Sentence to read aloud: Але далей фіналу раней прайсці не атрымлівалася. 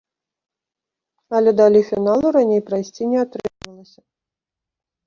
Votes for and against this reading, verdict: 1, 2, rejected